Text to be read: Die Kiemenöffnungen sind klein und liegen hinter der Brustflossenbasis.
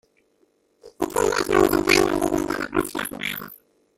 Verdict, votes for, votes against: rejected, 0, 2